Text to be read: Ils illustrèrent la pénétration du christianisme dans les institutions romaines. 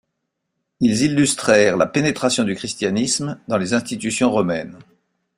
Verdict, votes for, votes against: accepted, 2, 0